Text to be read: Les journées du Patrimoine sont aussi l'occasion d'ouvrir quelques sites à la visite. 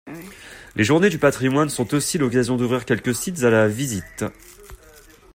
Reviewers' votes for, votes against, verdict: 2, 0, accepted